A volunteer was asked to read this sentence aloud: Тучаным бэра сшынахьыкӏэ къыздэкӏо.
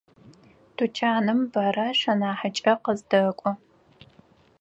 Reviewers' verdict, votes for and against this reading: rejected, 2, 4